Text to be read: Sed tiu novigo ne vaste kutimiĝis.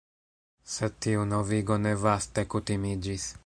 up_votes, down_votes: 2, 0